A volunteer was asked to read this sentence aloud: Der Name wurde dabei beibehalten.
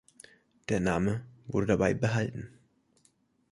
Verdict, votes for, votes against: rejected, 0, 2